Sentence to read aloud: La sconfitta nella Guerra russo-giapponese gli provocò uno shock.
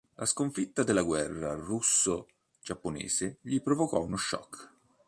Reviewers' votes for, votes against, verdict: 2, 3, rejected